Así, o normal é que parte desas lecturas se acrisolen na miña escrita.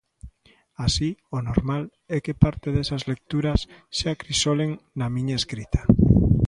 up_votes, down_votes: 2, 0